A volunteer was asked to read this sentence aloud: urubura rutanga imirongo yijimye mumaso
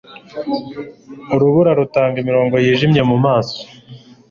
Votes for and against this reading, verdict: 2, 0, accepted